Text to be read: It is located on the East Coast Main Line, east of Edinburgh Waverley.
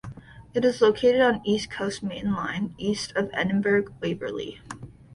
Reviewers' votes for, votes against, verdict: 1, 2, rejected